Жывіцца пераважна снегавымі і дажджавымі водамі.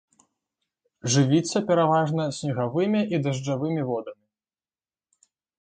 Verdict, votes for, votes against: accepted, 2, 1